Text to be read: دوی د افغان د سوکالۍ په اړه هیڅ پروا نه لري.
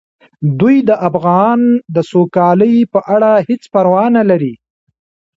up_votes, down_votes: 0, 3